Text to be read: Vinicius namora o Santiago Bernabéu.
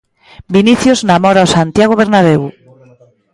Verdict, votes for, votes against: accepted, 2, 0